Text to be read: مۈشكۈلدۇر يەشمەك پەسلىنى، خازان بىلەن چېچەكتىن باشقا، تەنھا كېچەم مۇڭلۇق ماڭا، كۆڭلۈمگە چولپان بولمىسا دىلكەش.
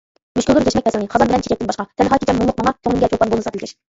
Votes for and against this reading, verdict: 0, 2, rejected